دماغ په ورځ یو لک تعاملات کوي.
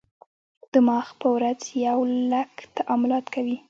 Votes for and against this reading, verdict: 1, 2, rejected